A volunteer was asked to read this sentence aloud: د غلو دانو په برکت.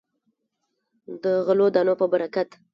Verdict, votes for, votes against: rejected, 1, 2